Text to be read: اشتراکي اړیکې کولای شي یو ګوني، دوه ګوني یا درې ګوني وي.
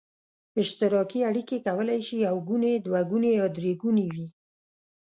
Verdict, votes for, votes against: accepted, 2, 0